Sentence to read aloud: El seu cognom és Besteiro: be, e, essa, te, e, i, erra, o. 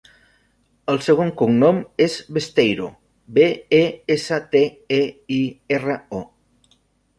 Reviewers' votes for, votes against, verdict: 0, 2, rejected